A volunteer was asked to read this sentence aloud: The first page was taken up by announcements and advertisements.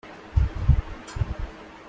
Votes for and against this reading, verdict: 0, 2, rejected